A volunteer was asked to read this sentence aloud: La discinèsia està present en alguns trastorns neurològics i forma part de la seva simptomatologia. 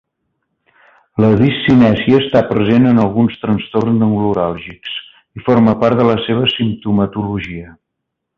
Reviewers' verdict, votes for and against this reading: rejected, 1, 2